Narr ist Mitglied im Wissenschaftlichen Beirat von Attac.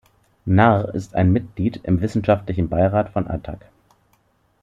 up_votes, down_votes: 0, 2